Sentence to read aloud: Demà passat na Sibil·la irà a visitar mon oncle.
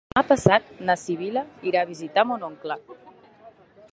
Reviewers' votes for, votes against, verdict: 0, 2, rejected